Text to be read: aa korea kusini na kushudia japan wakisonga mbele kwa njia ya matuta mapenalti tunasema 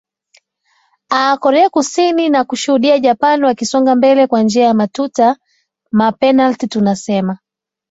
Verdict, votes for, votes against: accepted, 2, 0